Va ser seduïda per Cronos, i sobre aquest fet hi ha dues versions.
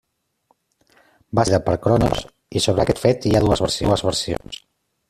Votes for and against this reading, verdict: 0, 2, rejected